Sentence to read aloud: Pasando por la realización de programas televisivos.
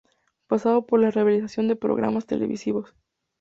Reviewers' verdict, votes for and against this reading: accepted, 2, 0